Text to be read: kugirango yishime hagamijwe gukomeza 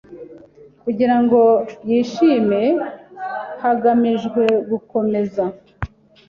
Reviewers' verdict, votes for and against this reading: accepted, 2, 0